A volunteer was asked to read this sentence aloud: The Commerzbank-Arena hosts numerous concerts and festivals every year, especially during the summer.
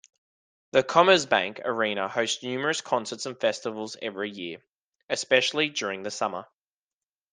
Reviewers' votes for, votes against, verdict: 2, 0, accepted